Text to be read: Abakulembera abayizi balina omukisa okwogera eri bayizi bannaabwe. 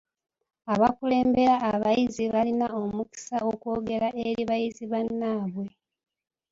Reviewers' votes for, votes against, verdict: 2, 0, accepted